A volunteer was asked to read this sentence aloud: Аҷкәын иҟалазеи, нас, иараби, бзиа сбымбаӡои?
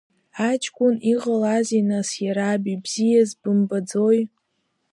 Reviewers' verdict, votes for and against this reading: rejected, 0, 2